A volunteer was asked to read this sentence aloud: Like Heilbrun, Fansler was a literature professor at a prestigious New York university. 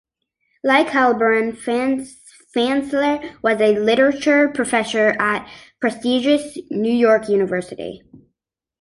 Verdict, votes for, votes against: rejected, 0, 2